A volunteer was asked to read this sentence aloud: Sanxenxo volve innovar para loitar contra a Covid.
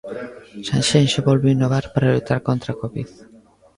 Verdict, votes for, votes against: accepted, 2, 0